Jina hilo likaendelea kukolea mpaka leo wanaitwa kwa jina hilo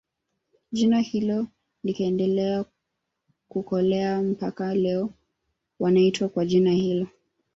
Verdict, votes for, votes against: rejected, 0, 2